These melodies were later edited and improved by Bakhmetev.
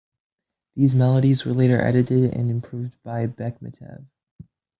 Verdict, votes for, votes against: rejected, 1, 2